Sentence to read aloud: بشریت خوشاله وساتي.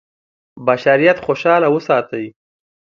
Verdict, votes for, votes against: rejected, 0, 2